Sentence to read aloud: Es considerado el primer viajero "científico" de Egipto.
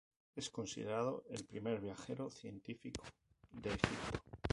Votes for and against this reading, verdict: 0, 2, rejected